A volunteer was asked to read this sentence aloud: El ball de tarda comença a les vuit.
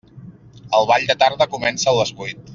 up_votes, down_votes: 3, 0